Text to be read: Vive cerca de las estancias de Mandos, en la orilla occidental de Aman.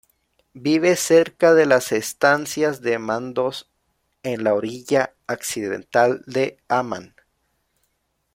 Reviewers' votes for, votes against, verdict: 0, 2, rejected